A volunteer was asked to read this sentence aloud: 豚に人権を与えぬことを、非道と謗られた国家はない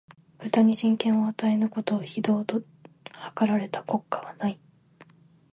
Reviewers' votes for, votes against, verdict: 1, 2, rejected